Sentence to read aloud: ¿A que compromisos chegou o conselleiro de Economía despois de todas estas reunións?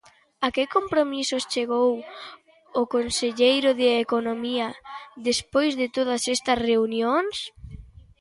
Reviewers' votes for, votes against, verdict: 2, 0, accepted